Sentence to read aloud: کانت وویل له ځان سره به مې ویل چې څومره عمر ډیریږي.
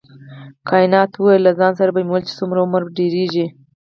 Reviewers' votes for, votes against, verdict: 0, 4, rejected